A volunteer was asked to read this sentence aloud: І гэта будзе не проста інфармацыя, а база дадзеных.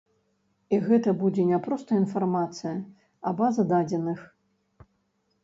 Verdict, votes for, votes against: rejected, 1, 2